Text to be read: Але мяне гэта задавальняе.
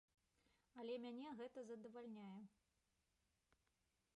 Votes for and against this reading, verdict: 3, 1, accepted